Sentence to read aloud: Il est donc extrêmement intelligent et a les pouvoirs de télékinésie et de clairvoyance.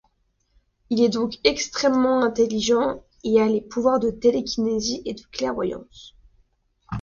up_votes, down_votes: 2, 0